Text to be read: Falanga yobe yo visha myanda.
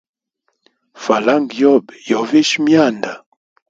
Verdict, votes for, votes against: accepted, 2, 0